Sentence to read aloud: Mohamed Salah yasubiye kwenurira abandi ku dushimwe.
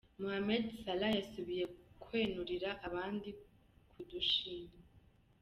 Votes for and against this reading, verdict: 1, 2, rejected